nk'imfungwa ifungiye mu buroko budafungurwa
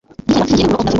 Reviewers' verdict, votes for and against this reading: rejected, 0, 2